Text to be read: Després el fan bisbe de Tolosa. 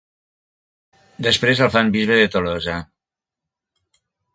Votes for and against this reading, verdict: 1, 2, rejected